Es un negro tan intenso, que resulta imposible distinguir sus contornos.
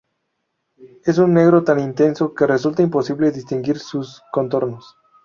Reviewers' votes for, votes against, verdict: 2, 0, accepted